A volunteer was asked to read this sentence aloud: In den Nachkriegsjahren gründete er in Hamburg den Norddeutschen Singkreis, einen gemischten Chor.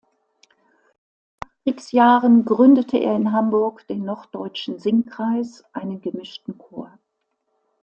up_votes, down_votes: 0, 2